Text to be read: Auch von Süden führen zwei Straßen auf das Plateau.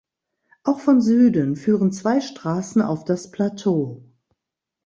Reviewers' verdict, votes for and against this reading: accepted, 2, 0